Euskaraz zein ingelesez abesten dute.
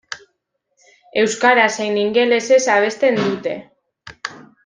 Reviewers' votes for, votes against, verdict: 2, 0, accepted